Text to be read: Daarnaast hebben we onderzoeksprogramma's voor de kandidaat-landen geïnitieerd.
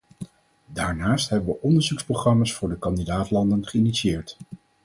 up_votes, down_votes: 4, 0